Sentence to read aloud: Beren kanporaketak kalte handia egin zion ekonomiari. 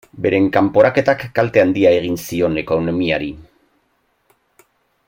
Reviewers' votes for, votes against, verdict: 0, 2, rejected